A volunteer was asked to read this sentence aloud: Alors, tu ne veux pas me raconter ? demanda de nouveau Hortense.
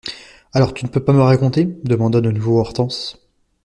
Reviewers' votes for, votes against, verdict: 1, 2, rejected